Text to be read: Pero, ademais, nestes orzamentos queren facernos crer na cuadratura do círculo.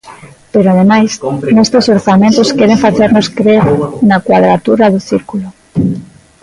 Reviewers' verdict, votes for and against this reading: rejected, 1, 2